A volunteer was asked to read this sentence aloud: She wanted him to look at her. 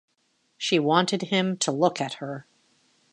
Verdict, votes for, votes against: accepted, 2, 0